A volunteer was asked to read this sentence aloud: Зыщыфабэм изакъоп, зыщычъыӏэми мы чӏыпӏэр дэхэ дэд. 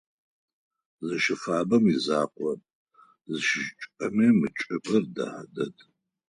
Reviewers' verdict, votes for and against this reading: rejected, 2, 4